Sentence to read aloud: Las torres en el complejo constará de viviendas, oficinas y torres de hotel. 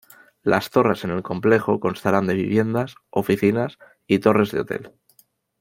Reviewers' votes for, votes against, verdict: 2, 0, accepted